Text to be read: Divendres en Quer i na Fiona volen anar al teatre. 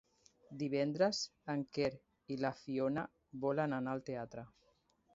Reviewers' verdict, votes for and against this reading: rejected, 1, 3